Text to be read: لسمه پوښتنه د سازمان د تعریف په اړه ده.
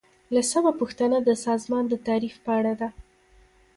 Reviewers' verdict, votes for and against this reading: rejected, 1, 2